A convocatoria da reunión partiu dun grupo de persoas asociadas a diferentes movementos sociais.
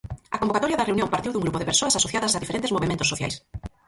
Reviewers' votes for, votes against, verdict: 0, 4, rejected